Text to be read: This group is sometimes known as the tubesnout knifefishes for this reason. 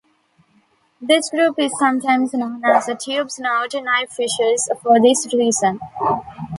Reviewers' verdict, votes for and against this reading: accepted, 2, 1